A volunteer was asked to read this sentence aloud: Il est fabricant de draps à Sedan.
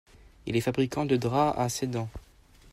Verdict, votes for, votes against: accepted, 2, 0